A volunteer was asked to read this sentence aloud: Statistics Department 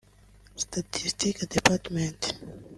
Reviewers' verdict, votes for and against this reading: rejected, 0, 2